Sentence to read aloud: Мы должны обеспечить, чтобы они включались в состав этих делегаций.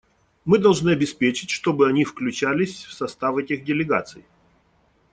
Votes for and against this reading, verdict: 2, 0, accepted